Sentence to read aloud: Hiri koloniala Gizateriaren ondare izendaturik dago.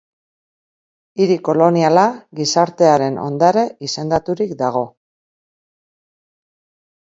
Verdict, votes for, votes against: rejected, 4, 4